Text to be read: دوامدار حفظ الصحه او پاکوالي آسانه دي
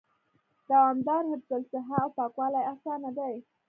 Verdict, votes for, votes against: rejected, 1, 2